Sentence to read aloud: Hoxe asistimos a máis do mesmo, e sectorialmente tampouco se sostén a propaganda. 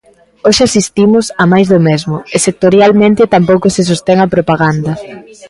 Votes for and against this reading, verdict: 1, 2, rejected